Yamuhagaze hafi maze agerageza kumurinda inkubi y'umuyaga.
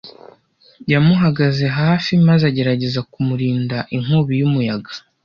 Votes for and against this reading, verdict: 2, 0, accepted